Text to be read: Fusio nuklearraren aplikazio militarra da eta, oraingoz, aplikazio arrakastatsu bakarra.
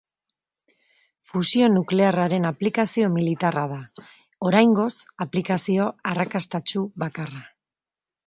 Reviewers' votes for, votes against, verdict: 1, 2, rejected